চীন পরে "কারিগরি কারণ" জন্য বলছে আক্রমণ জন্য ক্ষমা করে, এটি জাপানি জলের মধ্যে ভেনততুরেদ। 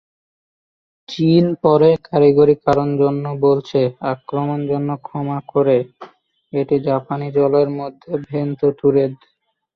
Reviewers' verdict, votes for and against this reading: rejected, 1, 2